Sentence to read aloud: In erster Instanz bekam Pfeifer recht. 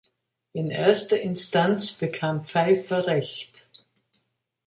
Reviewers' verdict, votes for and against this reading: accepted, 2, 0